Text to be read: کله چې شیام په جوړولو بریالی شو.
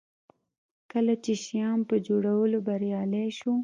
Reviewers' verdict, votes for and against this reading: rejected, 1, 2